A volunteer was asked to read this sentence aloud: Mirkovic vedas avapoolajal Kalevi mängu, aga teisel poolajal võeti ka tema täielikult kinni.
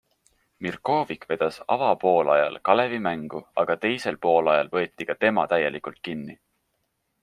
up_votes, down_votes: 3, 0